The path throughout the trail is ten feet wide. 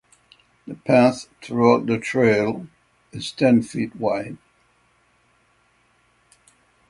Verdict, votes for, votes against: rejected, 3, 3